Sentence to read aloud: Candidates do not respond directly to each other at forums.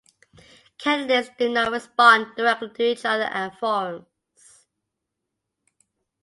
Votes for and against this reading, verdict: 2, 0, accepted